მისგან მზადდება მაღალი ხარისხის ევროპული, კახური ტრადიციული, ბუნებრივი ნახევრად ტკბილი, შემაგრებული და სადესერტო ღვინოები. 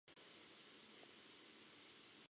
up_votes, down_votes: 0, 2